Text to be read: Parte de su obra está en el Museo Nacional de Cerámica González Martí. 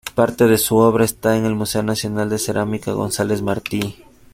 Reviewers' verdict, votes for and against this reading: accepted, 2, 0